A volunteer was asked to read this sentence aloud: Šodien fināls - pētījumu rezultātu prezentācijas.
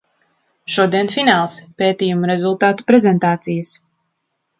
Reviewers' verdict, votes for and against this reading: rejected, 1, 2